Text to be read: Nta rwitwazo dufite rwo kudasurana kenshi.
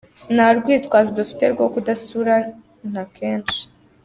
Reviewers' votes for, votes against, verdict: 1, 2, rejected